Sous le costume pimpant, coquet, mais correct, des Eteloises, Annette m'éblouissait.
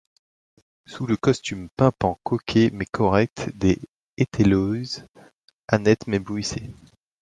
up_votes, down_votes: 1, 2